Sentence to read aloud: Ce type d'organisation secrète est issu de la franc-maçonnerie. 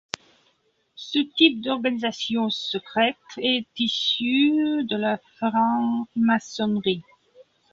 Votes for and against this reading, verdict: 0, 2, rejected